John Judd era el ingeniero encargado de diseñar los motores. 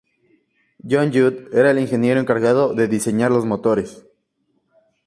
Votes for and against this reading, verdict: 2, 0, accepted